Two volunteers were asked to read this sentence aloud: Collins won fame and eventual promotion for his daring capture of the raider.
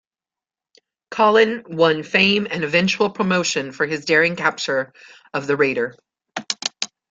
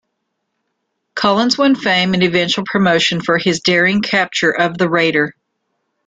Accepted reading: second